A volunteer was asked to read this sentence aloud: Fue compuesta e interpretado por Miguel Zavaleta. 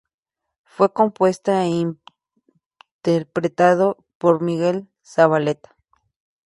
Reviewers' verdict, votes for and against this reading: accepted, 2, 0